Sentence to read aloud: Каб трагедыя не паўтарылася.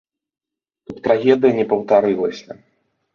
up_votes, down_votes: 2, 3